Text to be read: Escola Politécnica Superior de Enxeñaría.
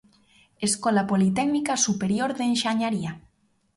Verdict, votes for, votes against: rejected, 1, 2